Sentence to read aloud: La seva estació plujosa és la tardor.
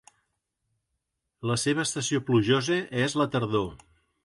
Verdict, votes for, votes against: accepted, 2, 0